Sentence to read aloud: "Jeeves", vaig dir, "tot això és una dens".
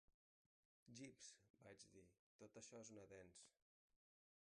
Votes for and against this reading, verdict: 0, 2, rejected